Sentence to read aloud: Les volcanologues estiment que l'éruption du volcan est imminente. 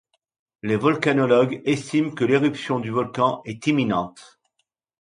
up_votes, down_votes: 2, 1